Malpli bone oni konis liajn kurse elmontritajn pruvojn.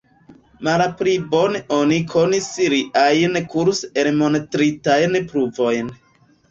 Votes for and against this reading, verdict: 0, 2, rejected